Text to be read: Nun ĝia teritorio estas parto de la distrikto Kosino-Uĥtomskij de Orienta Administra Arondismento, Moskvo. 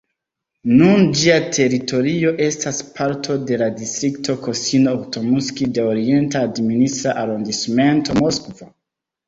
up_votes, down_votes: 0, 2